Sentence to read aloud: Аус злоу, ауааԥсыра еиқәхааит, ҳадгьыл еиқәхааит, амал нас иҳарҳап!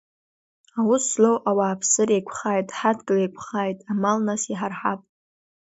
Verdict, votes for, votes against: accepted, 2, 0